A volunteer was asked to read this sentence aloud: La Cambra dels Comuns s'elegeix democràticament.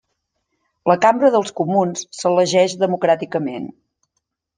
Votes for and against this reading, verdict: 2, 0, accepted